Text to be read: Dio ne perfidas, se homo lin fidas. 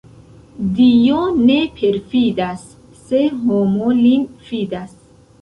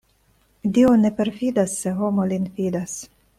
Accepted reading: second